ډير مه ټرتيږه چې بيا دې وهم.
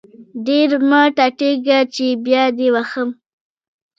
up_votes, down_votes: 1, 2